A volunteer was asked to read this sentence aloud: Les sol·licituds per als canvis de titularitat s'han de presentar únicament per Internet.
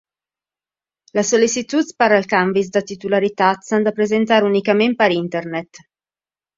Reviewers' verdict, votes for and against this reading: accepted, 2, 0